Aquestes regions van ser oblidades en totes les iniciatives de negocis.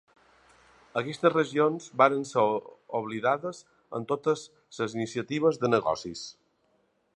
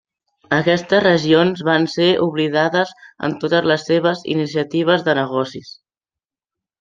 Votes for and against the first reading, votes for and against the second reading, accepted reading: 2, 1, 0, 2, first